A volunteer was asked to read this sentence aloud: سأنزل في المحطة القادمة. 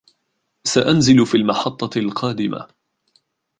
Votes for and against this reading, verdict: 2, 3, rejected